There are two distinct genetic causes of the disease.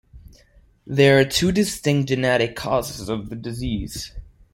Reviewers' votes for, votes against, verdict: 2, 0, accepted